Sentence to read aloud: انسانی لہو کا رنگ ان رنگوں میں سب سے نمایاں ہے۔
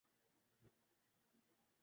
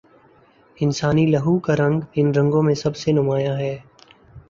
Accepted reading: second